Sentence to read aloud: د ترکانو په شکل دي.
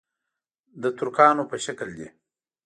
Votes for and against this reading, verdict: 2, 0, accepted